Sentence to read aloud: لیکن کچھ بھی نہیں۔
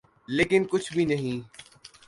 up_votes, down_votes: 2, 0